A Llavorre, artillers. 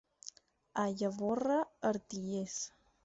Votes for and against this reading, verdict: 4, 0, accepted